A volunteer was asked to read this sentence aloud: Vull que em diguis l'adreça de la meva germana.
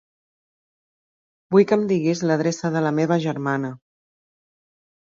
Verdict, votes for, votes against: accepted, 2, 0